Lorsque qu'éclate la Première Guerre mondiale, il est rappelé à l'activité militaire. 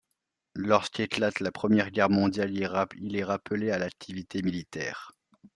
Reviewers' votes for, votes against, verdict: 0, 2, rejected